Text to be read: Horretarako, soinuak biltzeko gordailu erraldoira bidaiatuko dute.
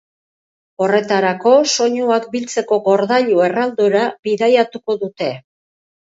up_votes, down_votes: 2, 2